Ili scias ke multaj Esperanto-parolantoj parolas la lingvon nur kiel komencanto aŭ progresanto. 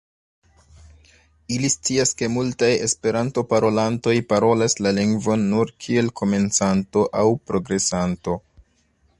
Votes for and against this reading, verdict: 1, 2, rejected